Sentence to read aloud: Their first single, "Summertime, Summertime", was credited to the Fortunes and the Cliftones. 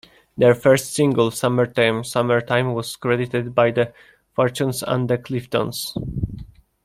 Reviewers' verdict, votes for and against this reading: rejected, 1, 2